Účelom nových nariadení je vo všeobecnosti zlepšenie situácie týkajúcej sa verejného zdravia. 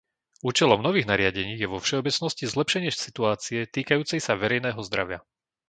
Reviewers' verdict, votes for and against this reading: rejected, 0, 2